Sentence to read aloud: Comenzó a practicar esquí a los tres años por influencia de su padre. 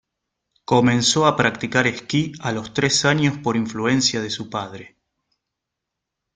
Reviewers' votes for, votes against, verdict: 2, 0, accepted